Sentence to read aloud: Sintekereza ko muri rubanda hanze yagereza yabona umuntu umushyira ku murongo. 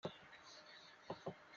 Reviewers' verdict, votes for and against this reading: rejected, 0, 4